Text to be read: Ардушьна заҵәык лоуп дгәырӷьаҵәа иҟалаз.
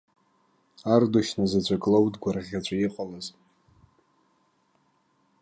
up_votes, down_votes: 3, 0